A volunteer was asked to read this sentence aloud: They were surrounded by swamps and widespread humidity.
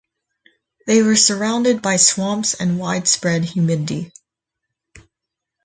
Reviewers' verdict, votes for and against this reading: rejected, 0, 4